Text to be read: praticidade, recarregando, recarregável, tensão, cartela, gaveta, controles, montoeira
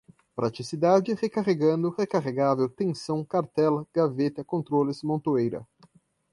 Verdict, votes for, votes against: accepted, 2, 0